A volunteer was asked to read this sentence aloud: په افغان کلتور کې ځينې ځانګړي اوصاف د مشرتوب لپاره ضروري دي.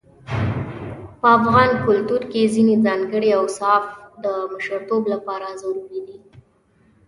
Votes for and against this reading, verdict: 1, 2, rejected